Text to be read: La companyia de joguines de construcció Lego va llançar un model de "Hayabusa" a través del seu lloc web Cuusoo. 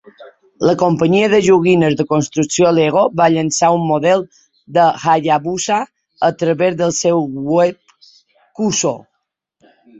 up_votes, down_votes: 0, 2